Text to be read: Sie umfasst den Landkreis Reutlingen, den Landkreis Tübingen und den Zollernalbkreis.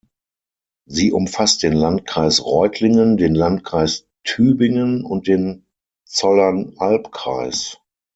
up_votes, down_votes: 6, 0